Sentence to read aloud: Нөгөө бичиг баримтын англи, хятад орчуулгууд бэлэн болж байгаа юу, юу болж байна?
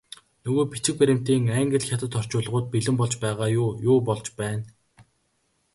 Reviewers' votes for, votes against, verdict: 4, 0, accepted